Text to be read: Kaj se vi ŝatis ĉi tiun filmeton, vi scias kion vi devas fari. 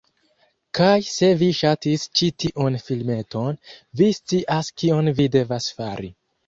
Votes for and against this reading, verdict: 0, 2, rejected